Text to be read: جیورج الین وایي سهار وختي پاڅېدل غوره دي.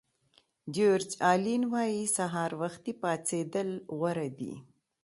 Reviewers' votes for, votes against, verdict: 2, 0, accepted